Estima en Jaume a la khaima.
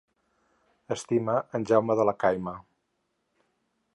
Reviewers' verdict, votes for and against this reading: rejected, 2, 4